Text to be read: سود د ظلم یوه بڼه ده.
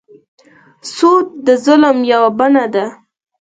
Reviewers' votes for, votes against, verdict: 4, 0, accepted